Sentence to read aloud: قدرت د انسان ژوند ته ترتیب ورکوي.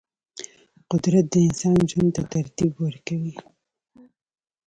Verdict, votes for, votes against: rejected, 0, 2